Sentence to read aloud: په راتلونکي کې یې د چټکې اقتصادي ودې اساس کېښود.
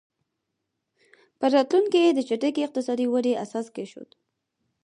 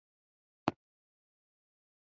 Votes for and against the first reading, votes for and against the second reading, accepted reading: 4, 0, 0, 2, first